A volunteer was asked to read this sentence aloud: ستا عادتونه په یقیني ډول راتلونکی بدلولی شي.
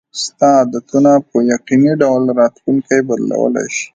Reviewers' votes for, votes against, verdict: 2, 0, accepted